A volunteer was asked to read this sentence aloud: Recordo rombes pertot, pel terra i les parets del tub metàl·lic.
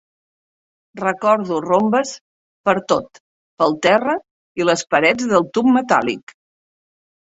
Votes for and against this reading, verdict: 2, 0, accepted